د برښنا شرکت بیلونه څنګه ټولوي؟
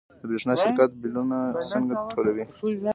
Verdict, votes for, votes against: accepted, 2, 0